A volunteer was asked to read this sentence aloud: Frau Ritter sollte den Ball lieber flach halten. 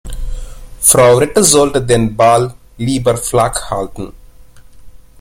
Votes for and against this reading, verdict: 1, 2, rejected